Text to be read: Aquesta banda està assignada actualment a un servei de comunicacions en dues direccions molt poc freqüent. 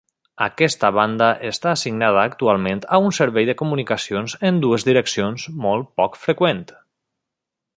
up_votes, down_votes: 3, 0